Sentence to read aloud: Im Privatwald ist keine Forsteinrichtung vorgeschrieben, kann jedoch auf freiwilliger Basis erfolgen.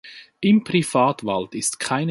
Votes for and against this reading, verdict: 0, 2, rejected